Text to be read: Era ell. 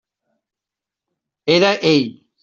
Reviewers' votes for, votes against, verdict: 3, 0, accepted